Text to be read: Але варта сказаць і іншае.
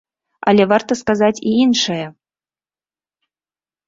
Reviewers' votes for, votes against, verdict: 2, 0, accepted